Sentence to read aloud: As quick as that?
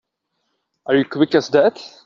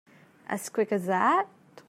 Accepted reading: second